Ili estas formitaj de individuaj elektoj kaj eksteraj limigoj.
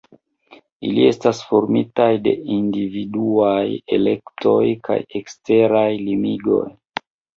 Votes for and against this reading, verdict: 1, 2, rejected